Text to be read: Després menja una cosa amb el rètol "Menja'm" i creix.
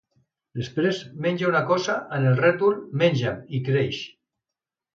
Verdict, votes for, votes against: accepted, 2, 0